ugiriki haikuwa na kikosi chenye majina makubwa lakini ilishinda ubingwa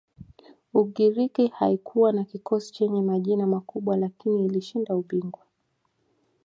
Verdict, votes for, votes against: accepted, 2, 0